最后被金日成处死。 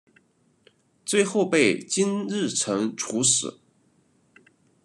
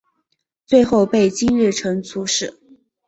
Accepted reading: first